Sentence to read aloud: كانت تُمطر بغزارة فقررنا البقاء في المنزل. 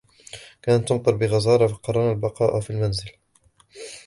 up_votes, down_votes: 1, 2